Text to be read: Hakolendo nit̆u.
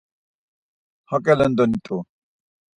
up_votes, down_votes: 2, 4